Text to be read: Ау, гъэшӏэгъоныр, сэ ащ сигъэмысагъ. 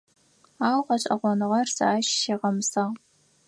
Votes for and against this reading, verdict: 0, 4, rejected